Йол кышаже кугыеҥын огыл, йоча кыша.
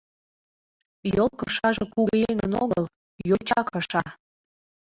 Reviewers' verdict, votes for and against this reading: rejected, 1, 2